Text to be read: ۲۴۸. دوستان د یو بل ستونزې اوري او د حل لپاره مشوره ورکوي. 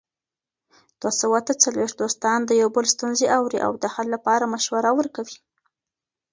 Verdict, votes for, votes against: rejected, 0, 2